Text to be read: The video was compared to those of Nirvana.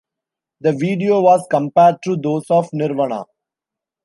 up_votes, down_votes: 1, 2